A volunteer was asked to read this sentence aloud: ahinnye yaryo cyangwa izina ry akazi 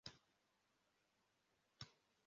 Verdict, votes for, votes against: rejected, 0, 2